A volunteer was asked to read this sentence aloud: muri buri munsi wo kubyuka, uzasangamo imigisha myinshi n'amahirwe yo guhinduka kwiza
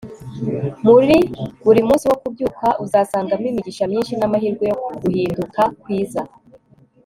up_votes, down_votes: 2, 0